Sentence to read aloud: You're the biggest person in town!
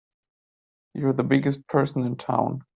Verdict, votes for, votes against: accepted, 2, 0